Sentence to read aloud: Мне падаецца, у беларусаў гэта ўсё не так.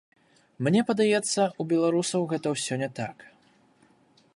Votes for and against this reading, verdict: 2, 0, accepted